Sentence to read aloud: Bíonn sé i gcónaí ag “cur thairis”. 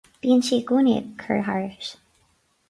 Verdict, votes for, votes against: accepted, 4, 0